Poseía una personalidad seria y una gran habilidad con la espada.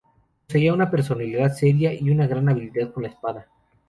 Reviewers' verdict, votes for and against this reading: accepted, 4, 0